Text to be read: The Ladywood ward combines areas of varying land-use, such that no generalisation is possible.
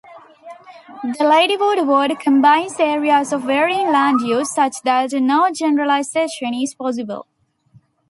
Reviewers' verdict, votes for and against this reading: rejected, 0, 2